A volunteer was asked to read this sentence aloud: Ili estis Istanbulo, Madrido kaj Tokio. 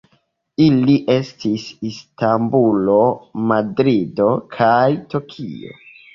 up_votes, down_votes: 3, 1